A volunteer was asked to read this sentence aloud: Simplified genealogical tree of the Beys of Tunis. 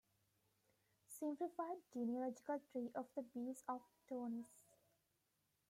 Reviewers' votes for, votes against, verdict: 1, 2, rejected